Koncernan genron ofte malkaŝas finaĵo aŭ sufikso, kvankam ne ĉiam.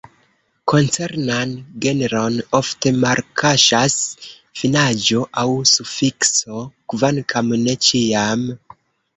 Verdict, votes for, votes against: rejected, 0, 2